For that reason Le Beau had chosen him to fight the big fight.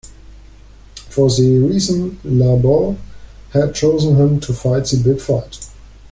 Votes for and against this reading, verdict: 0, 2, rejected